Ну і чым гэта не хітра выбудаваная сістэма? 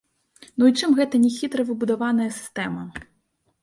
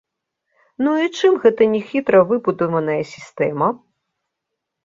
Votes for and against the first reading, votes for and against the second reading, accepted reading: 0, 2, 4, 0, second